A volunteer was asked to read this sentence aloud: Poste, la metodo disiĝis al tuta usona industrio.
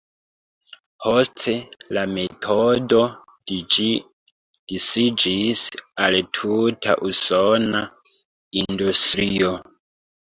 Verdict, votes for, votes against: rejected, 0, 3